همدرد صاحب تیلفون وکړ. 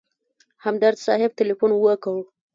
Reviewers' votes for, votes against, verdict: 1, 2, rejected